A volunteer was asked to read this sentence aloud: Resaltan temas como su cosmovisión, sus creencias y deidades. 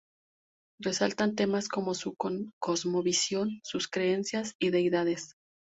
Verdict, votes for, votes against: rejected, 0, 2